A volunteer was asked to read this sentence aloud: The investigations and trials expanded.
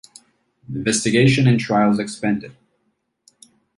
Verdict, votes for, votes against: rejected, 1, 2